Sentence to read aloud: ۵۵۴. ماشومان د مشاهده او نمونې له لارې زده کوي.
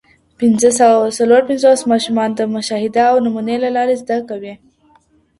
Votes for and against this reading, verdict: 0, 2, rejected